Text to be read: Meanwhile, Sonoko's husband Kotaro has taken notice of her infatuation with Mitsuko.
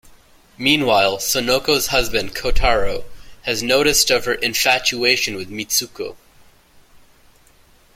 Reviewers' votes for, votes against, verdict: 2, 0, accepted